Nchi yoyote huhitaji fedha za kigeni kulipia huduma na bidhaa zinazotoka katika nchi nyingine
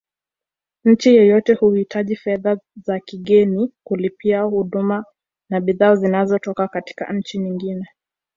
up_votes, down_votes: 2, 0